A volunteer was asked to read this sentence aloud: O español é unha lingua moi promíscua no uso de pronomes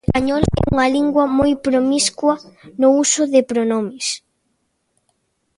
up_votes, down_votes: 0, 2